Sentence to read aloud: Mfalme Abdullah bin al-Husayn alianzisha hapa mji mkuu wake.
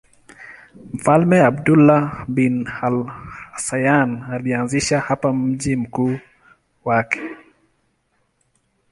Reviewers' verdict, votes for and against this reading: accepted, 2, 0